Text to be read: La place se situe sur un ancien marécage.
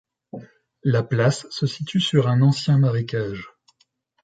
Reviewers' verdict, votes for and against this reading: accepted, 2, 0